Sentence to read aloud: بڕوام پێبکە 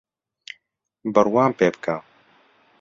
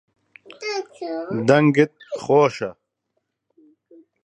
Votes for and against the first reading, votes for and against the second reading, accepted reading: 2, 0, 0, 2, first